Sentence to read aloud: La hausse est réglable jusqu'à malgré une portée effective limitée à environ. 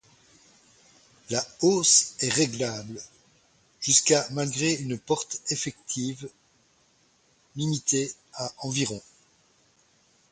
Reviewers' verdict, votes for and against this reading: rejected, 0, 4